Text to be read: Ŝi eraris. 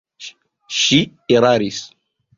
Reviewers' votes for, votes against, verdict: 1, 2, rejected